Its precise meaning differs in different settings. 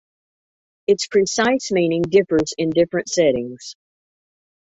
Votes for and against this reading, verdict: 2, 0, accepted